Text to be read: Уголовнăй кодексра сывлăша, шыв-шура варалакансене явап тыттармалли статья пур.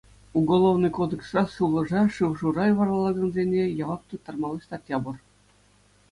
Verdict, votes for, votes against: accepted, 2, 0